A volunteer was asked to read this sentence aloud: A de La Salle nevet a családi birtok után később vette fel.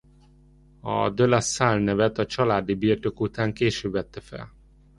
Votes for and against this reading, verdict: 2, 0, accepted